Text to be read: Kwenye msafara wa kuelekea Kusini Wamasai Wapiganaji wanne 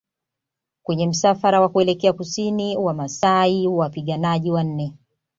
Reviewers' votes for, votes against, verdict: 2, 0, accepted